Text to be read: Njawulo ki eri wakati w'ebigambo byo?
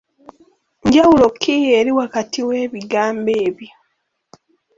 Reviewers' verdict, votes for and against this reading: rejected, 1, 2